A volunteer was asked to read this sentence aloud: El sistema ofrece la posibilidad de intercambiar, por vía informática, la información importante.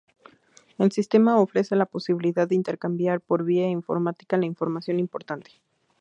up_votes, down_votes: 4, 0